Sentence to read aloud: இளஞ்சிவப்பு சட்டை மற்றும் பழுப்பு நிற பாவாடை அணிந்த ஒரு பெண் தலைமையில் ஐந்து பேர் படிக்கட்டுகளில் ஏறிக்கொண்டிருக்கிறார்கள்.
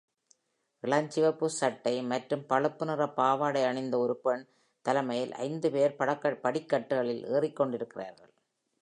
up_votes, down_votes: 0, 2